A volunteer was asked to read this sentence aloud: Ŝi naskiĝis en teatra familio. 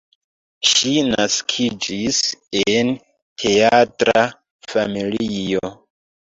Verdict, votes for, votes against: rejected, 1, 2